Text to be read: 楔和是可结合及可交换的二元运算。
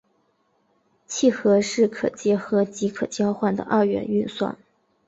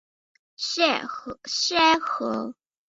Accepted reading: first